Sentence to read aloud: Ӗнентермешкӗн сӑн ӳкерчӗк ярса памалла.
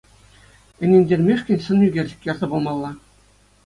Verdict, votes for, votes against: accepted, 2, 0